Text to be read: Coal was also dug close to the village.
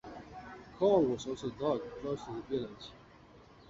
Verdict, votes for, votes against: accepted, 2, 0